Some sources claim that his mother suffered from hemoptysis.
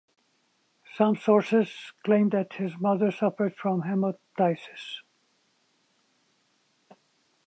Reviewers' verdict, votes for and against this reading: accepted, 2, 0